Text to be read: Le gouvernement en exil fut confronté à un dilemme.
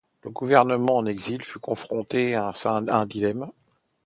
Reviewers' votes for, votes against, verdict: 0, 2, rejected